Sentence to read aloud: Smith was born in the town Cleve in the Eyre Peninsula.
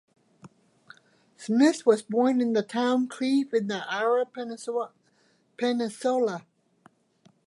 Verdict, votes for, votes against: rejected, 0, 2